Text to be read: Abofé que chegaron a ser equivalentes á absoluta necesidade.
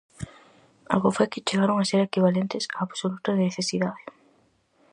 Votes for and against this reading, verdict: 2, 0, accepted